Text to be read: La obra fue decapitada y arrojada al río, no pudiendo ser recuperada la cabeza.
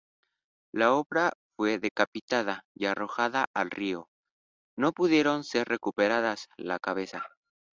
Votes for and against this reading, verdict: 0, 2, rejected